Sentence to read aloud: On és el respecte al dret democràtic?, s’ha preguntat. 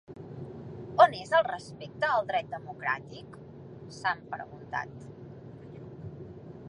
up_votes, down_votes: 0, 2